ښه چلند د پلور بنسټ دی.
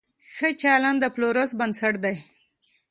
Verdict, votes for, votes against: accepted, 2, 0